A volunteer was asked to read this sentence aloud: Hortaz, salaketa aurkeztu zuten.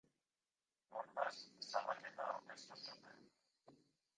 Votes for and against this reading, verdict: 0, 2, rejected